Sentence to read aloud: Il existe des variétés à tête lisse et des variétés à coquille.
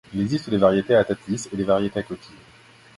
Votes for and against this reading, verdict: 2, 0, accepted